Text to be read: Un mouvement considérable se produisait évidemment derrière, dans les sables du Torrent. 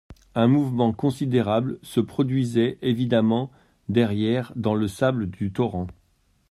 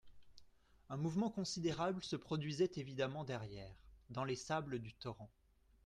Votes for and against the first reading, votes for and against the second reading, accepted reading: 1, 2, 2, 0, second